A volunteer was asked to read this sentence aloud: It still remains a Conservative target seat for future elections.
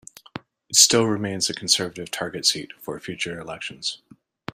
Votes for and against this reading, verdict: 2, 0, accepted